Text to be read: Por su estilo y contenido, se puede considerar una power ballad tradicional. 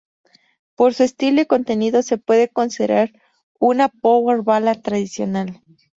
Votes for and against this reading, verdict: 2, 0, accepted